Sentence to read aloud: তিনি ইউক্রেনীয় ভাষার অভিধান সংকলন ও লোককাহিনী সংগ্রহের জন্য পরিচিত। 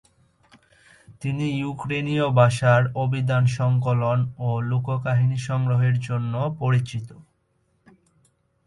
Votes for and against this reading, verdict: 2, 1, accepted